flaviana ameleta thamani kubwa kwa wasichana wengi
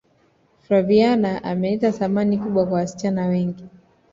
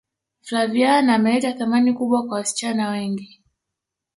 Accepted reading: first